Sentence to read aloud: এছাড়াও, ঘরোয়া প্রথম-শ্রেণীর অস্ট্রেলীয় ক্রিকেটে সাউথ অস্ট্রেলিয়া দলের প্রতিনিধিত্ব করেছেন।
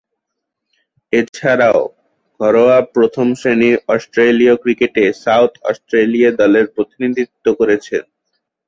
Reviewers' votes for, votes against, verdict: 4, 10, rejected